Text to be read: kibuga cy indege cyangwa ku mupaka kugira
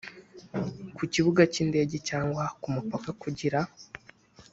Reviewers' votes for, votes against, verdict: 1, 2, rejected